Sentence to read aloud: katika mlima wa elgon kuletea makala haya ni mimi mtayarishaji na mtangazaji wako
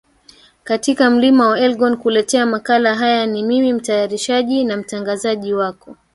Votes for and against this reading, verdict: 1, 2, rejected